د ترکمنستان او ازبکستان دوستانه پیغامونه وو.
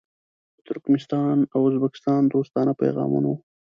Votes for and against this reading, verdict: 1, 2, rejected